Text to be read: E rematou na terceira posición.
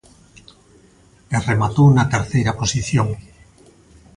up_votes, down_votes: 2, 0